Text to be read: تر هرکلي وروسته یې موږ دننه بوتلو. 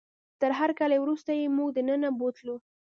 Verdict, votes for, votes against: rejected, 1, 2